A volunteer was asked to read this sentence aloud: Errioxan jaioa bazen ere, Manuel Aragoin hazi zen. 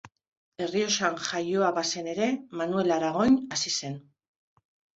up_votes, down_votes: 1, 2